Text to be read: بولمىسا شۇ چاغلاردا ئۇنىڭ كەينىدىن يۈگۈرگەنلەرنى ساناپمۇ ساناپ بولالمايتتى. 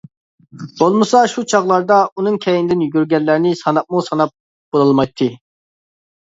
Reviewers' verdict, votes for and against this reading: accepted, 2, 1